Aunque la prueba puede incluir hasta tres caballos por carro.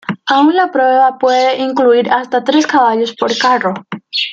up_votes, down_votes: 2, 0